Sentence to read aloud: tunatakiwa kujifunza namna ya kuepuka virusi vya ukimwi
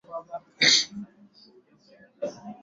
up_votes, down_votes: 0, 2